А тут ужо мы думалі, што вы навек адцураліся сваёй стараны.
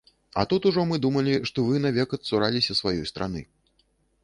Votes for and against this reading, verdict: 0, 2, rejected